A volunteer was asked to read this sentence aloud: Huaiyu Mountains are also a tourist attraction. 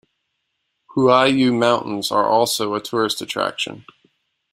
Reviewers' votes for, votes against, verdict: 2, 0, accepted